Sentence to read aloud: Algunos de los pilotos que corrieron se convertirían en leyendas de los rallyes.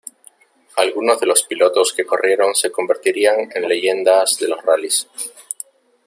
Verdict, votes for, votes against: accepted, 3, 0